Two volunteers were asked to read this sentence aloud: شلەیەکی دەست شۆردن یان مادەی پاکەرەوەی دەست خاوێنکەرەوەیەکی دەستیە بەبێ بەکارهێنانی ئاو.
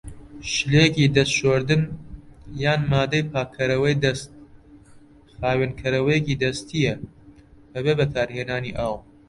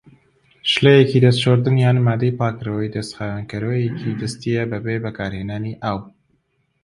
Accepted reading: second